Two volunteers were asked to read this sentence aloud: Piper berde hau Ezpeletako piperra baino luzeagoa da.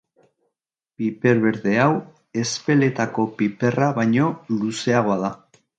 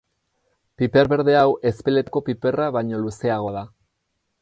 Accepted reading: first